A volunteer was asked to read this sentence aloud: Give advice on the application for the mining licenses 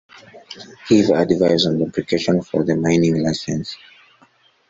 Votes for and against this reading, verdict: 0, 2, rejected